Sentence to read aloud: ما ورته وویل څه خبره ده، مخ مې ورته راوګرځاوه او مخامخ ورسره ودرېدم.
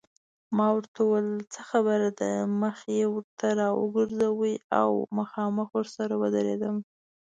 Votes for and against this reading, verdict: 1, 2, rejected